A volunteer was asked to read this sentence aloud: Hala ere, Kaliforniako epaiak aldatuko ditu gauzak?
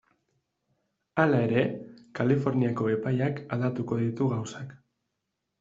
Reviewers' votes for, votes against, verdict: 0, 2, rejected